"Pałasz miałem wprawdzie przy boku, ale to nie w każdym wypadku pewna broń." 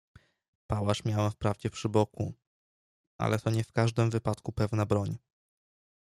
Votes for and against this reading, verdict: 2, 0, accepted